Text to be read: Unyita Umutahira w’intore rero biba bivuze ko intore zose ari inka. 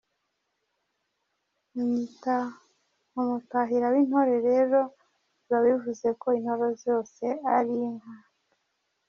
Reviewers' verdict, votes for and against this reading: rejected, 1, 2